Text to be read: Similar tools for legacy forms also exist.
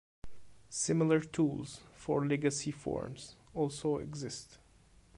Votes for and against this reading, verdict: 2, 0, accepted